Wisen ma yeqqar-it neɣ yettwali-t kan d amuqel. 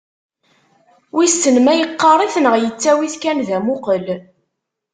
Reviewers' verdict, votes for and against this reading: rejected, 1, 2